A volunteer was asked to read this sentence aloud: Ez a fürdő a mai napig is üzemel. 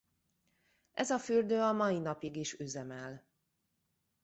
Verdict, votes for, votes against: accepted, 2, 0